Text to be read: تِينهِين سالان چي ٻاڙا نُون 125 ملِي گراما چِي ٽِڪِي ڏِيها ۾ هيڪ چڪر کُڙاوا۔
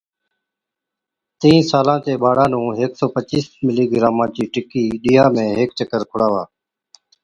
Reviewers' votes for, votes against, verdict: 0, 2, rejected